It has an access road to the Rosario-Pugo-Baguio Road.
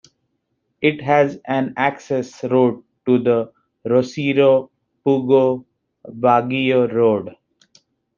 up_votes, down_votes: 2, 0